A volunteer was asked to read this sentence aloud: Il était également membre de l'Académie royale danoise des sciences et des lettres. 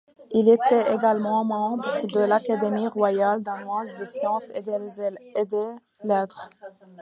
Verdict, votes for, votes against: accepted, 2, 1